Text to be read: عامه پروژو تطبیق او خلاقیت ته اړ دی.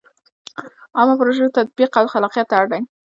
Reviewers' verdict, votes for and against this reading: accepted, 2, 0